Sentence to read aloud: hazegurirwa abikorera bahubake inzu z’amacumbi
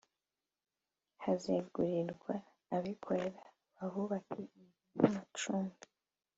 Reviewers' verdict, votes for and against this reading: accepted, 2, 1